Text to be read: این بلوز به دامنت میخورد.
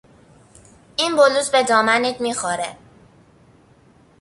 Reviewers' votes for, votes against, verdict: 0, 2, rejected